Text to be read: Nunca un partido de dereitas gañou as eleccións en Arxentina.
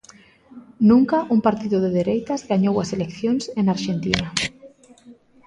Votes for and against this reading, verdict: 1, 2, rejected